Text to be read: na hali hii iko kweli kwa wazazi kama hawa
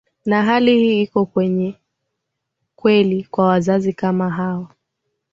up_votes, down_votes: 3, 1